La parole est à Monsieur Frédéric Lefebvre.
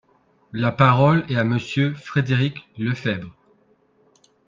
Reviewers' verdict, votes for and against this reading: rejected, 0, 2